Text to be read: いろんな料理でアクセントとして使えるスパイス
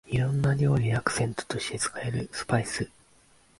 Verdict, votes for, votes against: accepted, 2, 0